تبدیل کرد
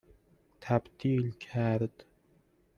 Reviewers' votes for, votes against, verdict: 2, 0, accepted